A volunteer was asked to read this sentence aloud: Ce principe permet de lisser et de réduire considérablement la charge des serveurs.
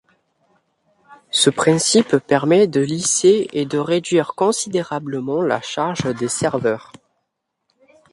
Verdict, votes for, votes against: accepted, 2, 0